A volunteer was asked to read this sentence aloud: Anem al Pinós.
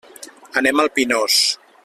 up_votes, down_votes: 3, 0